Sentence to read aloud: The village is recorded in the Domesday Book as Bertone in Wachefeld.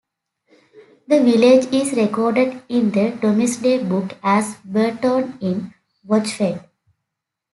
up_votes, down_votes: 0, 2